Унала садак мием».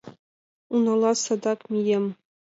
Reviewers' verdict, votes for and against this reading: accepted, 2, 0